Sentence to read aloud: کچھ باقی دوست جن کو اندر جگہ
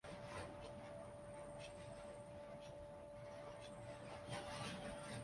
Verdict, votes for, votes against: rejected, 0, 2